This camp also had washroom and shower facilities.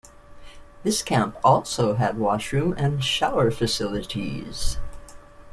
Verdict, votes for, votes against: accepted, 2, 0